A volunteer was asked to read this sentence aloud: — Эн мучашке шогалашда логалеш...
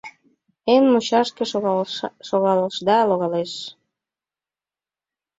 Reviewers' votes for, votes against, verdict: 0, 2, rejected